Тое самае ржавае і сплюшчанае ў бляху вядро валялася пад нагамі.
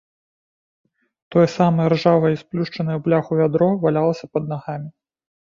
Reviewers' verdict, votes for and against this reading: accepted, 2, 0